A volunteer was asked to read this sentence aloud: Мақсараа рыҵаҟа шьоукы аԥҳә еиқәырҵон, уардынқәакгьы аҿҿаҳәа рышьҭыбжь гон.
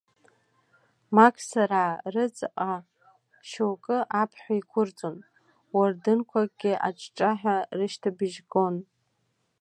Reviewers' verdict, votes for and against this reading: accepted, 2, 0